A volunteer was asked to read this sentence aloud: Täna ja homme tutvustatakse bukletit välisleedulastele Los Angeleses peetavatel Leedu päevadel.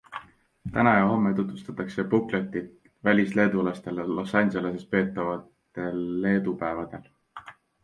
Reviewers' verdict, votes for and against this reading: accepted, 2, 0